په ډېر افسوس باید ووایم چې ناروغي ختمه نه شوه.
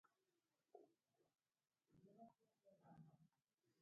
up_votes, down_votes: 2, 1